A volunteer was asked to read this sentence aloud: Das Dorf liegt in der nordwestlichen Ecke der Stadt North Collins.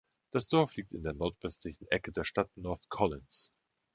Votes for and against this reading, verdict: 2, 0, accepted